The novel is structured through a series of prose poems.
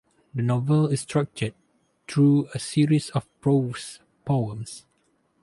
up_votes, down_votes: 2, 4